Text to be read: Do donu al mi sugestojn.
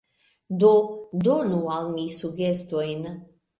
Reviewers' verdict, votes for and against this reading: accepted, 2, 0